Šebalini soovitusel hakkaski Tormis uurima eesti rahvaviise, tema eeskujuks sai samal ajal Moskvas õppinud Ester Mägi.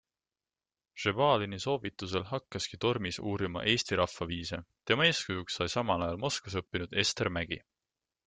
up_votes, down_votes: 2, 0